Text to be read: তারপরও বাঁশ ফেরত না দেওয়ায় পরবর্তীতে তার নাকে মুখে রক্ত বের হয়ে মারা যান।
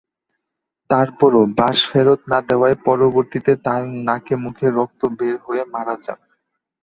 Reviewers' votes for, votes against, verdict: 6, 0, accepted